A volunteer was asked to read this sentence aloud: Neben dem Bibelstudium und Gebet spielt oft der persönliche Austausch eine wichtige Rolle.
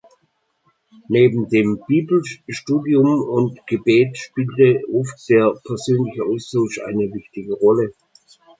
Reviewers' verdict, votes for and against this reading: rejected, 0, 2